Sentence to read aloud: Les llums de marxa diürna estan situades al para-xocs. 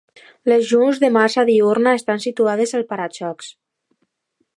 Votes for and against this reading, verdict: 2, 0, accepted